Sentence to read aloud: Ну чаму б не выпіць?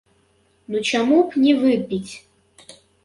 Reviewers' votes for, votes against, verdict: 0, 3, rejected